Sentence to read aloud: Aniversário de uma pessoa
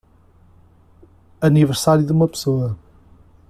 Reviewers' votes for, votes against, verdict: 2, 0, accepted